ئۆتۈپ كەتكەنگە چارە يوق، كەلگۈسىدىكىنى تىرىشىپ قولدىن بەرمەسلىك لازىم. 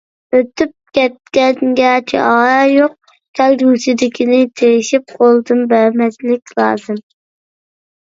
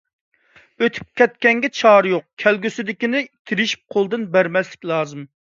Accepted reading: second